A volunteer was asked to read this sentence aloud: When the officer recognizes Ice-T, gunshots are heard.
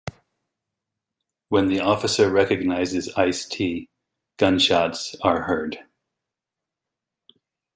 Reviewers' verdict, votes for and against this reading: accepted, 2, 0